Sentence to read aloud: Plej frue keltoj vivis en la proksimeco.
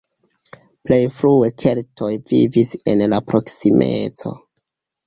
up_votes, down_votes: 2, 0